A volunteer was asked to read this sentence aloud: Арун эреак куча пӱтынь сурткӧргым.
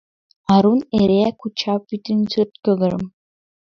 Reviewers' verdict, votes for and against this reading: rejected, 1, 2